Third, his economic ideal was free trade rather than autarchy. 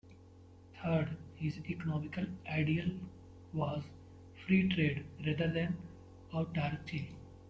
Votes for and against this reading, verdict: 1, 2, rejected